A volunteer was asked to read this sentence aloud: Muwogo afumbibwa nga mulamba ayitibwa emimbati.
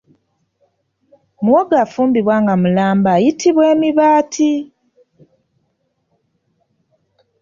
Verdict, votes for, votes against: rejected, 2, 3